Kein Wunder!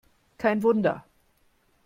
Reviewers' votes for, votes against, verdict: 2, 0, accepted